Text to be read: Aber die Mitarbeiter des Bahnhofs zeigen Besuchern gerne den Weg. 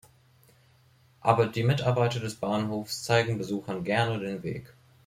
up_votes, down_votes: 2, 0